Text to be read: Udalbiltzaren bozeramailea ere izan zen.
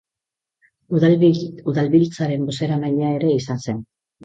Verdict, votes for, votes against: rejected, 0, 4